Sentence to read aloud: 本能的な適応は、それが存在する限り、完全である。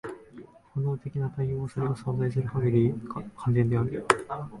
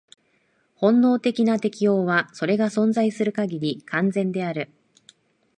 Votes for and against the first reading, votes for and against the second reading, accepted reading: 1, 2, 3, 0, second